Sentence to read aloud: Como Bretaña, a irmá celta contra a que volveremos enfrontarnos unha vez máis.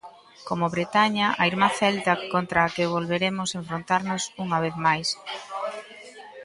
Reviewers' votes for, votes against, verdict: 2, 0, accepted